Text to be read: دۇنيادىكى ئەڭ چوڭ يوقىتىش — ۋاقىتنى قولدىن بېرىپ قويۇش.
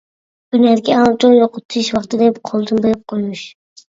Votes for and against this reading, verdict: 0, 2, rejected